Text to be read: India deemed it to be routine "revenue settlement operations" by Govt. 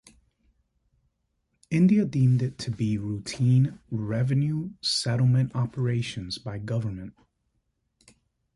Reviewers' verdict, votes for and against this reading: accepted, 2, 0